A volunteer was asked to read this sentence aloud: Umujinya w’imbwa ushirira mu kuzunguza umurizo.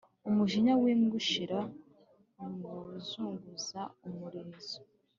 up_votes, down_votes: 2, 0